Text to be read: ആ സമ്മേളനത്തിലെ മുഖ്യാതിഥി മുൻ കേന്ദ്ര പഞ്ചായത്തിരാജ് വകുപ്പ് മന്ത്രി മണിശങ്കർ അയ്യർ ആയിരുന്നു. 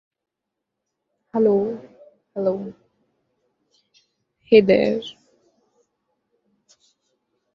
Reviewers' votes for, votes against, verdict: 0, 2, rejected